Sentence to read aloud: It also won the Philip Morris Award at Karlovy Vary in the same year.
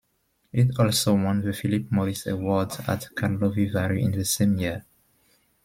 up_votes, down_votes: 2, 0